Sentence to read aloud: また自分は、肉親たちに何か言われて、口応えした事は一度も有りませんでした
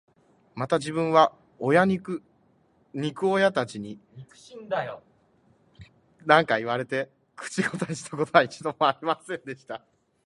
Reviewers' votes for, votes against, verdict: 0, 2, rejected